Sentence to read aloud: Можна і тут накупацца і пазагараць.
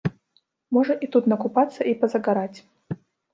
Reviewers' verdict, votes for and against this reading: rejected, 0, 2